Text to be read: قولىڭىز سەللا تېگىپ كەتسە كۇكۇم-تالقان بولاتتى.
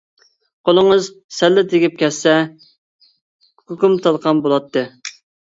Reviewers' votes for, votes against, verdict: 1, 2, rejected